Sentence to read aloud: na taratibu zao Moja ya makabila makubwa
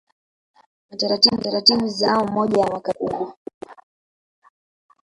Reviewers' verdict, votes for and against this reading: rejected, 0, 2